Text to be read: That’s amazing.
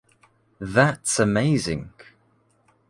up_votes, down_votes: 2, 0